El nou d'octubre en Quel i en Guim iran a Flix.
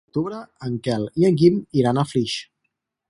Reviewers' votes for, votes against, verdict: 2, 4, rejected